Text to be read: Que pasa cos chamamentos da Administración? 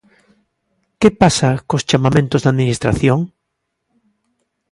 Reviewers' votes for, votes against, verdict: 4, 0, accepted